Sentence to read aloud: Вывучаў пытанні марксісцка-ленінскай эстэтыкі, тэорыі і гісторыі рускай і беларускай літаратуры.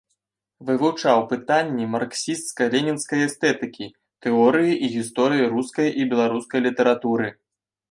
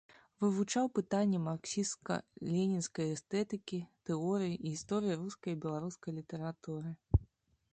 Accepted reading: first